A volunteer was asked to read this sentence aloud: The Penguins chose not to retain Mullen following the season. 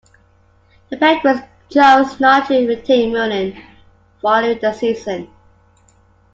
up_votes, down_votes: 2, 1